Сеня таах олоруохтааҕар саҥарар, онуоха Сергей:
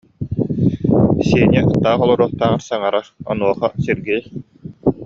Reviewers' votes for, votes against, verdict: 2, 0, accepted